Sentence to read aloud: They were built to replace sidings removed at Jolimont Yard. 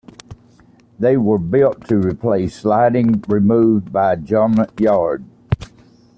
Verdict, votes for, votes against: rejected, 0, 2